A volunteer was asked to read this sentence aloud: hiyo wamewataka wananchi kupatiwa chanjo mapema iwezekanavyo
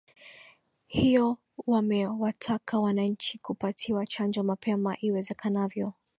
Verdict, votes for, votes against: accepted, 19, 2